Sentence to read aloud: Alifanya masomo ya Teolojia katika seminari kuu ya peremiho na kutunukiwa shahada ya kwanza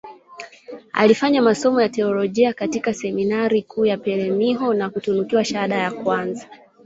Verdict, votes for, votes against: rejected, 0, 3